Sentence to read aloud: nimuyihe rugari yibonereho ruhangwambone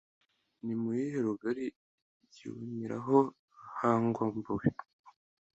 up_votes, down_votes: 2, 0